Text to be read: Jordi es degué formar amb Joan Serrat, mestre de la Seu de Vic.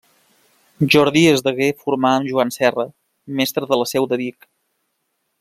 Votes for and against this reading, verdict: 0, 2, rejected